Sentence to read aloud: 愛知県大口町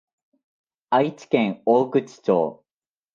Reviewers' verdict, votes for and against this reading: accepted, 2, 0